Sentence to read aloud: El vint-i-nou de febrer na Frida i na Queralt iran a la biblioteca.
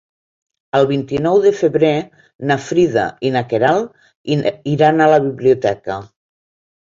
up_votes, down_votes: 1, 2